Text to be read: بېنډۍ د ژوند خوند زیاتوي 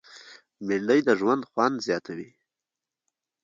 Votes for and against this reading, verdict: 2, 1, accepted